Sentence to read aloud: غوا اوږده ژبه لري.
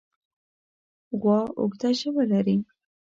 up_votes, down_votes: 3, 0